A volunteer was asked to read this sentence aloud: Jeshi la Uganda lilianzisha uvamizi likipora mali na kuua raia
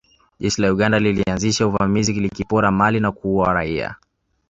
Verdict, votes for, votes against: accepted, 2, 1